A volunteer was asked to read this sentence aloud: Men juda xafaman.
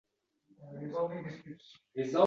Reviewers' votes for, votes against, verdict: 0, 2, rejected